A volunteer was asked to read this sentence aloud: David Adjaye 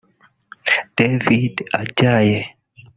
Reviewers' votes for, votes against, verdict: 1, 2, rejected